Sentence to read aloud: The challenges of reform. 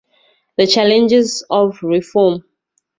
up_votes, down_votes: 2, 0